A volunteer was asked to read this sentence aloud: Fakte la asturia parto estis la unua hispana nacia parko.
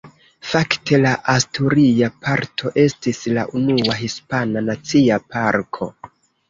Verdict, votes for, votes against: accepted, 2, 0